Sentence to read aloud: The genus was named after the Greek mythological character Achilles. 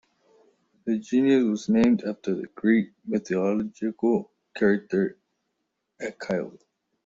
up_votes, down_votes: 0, 2